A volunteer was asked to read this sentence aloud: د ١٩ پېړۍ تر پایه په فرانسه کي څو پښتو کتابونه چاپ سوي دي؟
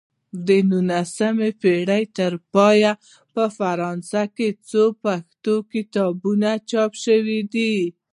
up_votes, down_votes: 0, 2